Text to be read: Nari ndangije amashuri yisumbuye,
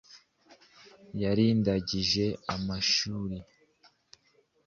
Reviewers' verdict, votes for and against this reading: rejected, 1, 2